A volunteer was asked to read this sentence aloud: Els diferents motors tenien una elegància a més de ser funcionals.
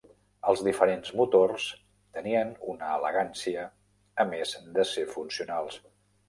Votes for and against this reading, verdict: 3, 0, accepted